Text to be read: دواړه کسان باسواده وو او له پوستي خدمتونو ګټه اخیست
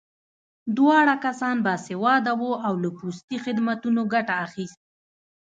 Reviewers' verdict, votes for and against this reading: accepted, 2, 1